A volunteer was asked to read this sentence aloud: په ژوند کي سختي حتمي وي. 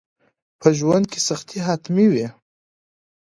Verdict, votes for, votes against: accepted, 2, 0